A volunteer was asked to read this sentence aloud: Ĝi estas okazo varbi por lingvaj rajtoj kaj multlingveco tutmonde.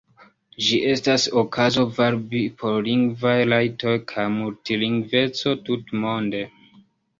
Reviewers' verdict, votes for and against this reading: rejected, 0, 2